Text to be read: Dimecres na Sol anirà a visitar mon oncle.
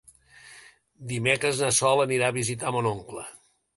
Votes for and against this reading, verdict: 2, 0, accepted